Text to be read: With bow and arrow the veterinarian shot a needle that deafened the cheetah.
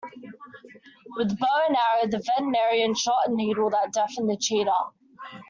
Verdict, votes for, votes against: accepted, 2, 1